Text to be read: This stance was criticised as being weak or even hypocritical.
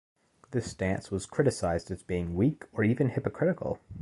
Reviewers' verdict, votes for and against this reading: accepted, 2, 0